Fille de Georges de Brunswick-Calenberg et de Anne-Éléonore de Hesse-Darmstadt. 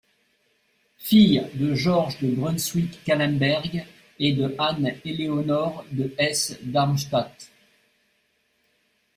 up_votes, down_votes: 2, 0